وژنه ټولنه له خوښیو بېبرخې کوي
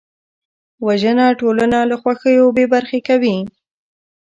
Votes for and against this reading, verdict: 1, 2, rejected